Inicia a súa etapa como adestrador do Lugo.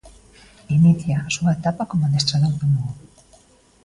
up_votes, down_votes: 2, 0